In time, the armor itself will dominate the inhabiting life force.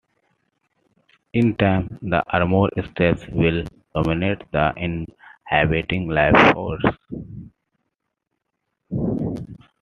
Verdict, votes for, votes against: accepted, 2, 1